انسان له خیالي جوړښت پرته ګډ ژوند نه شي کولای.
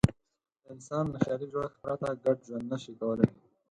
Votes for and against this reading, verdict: 2, 4, rejected